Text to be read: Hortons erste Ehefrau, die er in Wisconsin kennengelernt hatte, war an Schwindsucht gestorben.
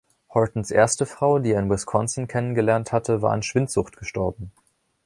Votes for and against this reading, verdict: 0, 2, rejected